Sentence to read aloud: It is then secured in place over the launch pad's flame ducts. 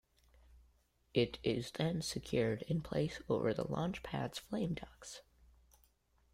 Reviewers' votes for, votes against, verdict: 2, 0, accepted